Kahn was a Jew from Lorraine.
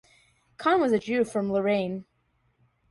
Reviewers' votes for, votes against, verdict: 2, 0, accepted